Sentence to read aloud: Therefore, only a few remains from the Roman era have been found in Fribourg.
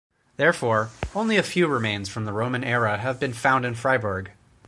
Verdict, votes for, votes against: accepted, 4, 0